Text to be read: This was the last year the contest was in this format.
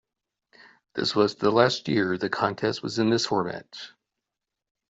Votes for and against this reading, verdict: 2, 0, accepted